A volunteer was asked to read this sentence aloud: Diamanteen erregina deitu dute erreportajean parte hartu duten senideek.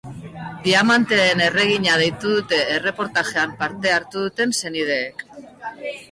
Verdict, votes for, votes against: accepted, 3, 0